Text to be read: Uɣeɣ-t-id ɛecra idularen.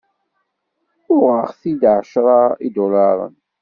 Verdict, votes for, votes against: accepted, 2, 0